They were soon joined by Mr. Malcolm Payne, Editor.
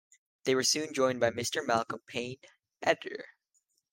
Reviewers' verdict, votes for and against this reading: accepted, 2, 1